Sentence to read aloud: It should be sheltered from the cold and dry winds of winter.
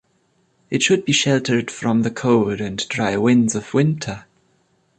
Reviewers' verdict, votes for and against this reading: accepted, 2, 0